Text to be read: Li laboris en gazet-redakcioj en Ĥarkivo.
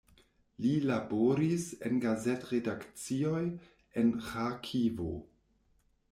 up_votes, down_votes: 2, 0